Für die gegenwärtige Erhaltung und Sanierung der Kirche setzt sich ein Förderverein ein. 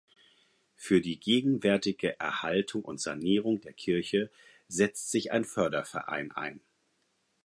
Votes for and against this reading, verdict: 4, 0, accepted